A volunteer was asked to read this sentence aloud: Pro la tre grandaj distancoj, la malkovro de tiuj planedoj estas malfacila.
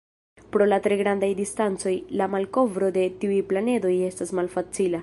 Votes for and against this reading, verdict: 2, 1, accepted